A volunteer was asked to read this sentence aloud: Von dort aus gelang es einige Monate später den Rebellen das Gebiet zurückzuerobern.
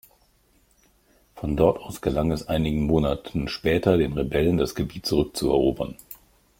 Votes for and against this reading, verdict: 0, 2, rejected